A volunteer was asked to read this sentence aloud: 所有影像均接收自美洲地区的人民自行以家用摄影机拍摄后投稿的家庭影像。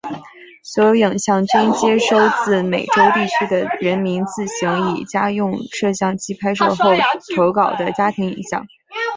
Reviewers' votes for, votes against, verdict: 2, 1, accepted